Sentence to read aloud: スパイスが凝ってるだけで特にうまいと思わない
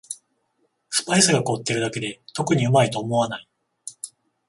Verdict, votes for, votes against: accepted, 14, 0